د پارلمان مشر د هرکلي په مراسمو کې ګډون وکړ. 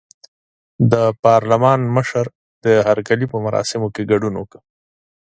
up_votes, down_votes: 2, 0